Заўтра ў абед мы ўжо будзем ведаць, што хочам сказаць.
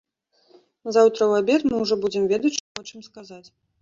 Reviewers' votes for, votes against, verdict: 0, 2, rejected